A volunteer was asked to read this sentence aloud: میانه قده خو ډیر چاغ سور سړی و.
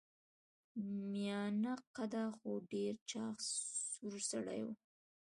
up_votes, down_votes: 2, 0